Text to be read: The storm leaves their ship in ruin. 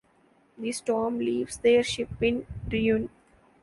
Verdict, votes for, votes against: rejected, 0, 2